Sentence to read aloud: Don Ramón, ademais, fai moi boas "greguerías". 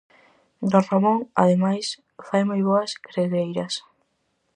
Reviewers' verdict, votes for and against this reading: rejected, 0, 4